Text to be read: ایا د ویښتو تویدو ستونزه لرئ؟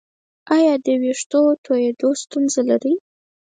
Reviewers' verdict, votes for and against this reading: rejected, 2, 4